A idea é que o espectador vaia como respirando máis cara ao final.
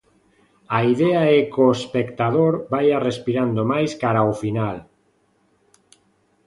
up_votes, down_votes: 1, 2